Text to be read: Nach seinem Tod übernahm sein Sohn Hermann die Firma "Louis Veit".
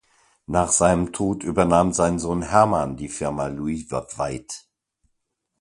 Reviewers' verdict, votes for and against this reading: rejected, 1, 2